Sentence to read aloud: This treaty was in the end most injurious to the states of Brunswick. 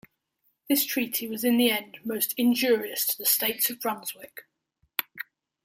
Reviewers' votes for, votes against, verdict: 2, 0, accepted